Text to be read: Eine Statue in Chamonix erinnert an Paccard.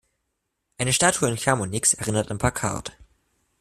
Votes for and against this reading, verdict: 2, 1, accepted